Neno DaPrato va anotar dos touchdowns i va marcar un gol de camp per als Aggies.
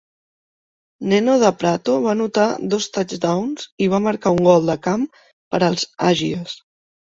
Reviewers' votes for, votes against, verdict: 2, 0, accepted